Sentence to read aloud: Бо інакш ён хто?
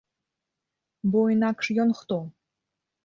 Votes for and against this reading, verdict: 2, 0, accepted